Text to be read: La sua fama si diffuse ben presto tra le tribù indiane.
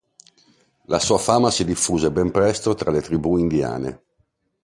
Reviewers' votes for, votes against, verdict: 2, 0, accepted